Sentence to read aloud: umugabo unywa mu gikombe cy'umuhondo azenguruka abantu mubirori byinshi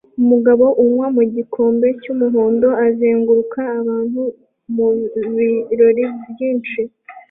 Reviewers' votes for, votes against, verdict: 2, 0, accepted